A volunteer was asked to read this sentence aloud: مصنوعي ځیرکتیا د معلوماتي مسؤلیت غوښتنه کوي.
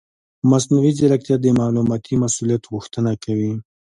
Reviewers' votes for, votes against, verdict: 2, 0, accepted